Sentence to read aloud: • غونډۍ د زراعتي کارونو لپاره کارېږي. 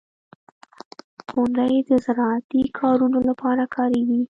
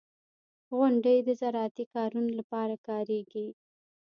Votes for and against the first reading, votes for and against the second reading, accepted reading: 0, 2, 2, 1, second